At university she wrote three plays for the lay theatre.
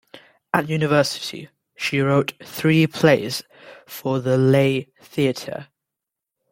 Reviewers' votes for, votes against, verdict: 2, 0, accepted